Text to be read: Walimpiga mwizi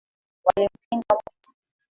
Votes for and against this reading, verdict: 1, 3, rejected